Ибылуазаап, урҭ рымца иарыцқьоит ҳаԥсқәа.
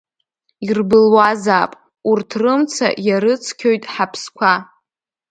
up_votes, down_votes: 0, 2